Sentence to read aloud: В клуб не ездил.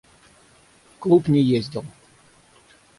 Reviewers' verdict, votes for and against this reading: rejected, 3, 3